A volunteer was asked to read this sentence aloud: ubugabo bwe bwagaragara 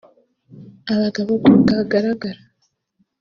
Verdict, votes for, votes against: rejected, 3, 5